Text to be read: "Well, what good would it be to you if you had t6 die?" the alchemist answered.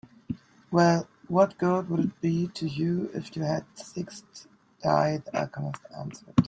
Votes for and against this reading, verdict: 0, 2, rejected